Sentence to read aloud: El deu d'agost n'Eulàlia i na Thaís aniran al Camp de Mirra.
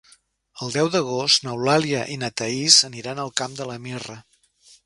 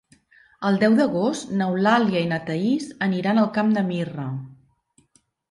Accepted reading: second